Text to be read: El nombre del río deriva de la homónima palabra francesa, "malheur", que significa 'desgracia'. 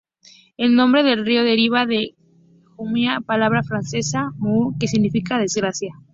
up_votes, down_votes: 0, 2